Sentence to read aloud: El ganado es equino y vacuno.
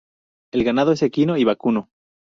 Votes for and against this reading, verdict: 4, 0, accepted